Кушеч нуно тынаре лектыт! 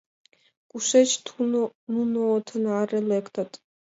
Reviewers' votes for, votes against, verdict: 1, 2, rejected